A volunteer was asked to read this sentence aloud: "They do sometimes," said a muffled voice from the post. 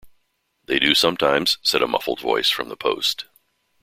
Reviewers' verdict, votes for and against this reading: accepted, 2, 0